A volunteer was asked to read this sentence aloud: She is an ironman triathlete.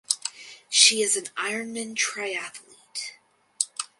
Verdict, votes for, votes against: accepted, 4, 0